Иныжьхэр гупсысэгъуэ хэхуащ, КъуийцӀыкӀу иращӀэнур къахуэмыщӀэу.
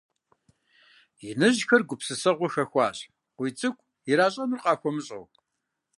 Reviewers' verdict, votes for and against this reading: accepted, 2, 0